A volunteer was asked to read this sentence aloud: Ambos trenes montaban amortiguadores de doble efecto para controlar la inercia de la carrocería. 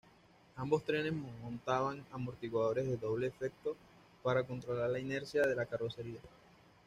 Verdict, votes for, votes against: accepted, 2, 0